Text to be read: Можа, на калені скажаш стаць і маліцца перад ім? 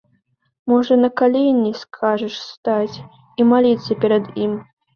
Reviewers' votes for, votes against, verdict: 2, 0, accepted